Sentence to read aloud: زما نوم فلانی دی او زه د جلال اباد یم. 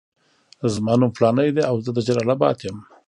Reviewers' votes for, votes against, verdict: 1, 2, rejected